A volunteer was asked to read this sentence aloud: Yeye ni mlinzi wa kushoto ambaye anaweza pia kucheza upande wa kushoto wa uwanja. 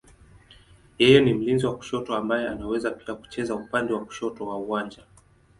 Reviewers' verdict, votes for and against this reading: accepted, 2, 0